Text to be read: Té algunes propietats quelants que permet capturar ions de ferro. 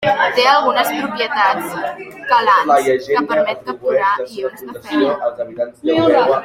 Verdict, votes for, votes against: rejected, 0, 2